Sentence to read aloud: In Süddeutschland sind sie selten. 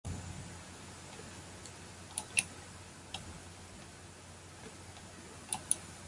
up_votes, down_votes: 0, 2